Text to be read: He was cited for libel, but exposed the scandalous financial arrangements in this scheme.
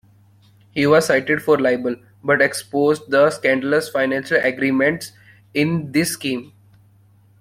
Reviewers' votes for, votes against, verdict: 1, 2, rejected